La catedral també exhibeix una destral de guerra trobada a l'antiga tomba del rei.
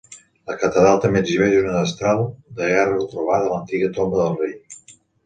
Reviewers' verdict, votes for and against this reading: accepted, 2, 0